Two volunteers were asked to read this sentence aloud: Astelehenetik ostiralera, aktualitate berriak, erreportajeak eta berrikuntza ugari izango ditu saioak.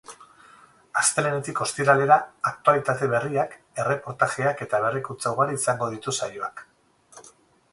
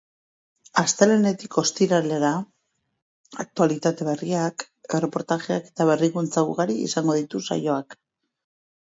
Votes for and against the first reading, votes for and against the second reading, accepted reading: 8, 0, 2, 2, first